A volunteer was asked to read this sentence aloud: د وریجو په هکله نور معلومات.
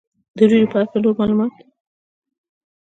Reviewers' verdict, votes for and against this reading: rejected, 0, 2